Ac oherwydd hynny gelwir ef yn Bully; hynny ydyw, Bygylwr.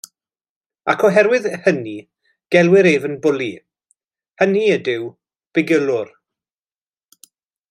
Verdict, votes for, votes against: accepted, 2, 0